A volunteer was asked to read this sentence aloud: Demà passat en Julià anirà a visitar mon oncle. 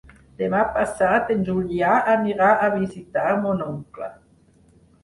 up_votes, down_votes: 4, 0